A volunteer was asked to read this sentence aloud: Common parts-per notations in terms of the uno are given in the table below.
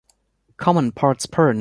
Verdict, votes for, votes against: rejected, 1, 2